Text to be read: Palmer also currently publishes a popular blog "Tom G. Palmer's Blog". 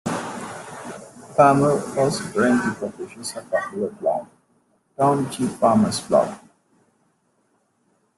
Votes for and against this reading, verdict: 0, 2, rejected